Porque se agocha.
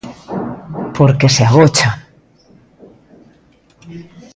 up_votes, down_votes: 2, 0